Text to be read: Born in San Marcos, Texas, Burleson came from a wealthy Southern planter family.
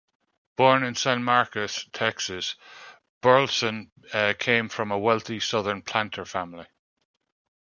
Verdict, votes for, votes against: rejected, 1, 2